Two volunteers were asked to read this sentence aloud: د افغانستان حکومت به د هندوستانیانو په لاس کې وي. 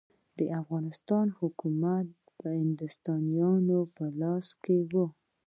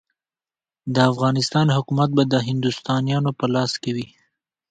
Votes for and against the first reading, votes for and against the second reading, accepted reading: 0, 2, 2, 0, second